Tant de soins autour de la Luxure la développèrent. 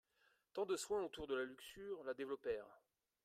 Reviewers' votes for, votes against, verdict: 2, 0, accepted